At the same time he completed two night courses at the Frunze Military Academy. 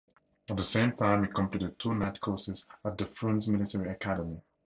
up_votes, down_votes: 2, 0